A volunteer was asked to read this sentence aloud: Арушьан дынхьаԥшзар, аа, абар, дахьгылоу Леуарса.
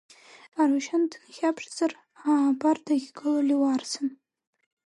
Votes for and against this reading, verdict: 0, 2, rejected